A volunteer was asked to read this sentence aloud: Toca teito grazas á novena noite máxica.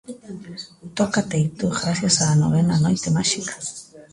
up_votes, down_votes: 2, 1